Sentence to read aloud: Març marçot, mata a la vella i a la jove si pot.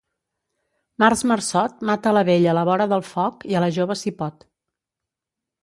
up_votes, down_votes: 1, 2